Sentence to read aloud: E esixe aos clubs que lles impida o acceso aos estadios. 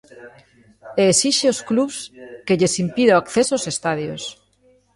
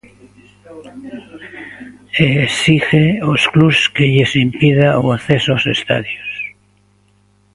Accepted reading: first